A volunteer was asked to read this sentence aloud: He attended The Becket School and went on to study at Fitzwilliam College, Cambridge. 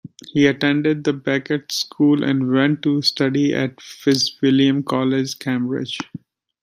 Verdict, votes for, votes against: rejected, 0, 2